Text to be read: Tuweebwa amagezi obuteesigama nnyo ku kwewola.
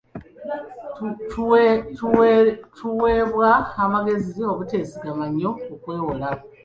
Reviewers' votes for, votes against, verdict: 2, 0, accepted